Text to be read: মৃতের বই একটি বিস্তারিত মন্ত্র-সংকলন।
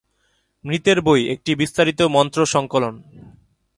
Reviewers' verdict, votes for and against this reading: accepted, 2, 0